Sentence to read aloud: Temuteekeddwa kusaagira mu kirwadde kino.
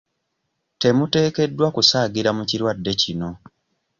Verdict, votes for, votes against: accepted, 2, 0